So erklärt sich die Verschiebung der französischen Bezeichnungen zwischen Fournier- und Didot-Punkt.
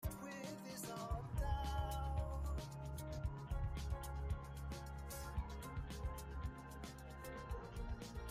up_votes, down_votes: 0, 2